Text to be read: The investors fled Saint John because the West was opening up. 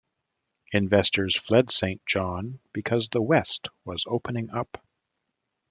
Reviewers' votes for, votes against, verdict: 0, 2, rejected